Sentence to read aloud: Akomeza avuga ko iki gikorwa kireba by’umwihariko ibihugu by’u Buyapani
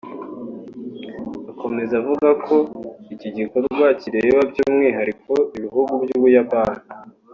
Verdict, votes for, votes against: accepted, 2, 0